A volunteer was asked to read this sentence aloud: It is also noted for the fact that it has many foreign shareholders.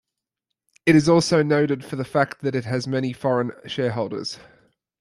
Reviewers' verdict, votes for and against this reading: accepted, 2, 0